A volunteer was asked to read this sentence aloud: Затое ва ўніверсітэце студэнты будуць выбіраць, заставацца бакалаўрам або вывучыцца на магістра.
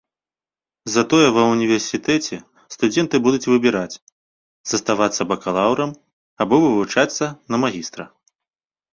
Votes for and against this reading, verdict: 0, 2, rejected